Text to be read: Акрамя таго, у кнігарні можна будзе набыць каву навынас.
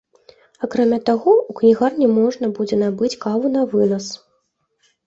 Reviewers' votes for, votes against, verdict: 2, 0, accepted